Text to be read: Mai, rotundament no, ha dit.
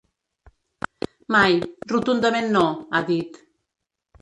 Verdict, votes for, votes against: rejected, 1, 2